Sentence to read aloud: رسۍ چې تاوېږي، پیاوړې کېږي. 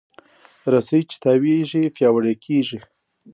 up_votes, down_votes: 2, 0